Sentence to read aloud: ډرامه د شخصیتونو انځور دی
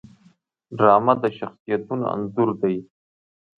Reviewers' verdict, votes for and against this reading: rejected, 1, 2